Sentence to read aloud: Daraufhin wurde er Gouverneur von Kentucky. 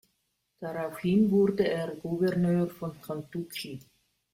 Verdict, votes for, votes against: rejected, 1, 2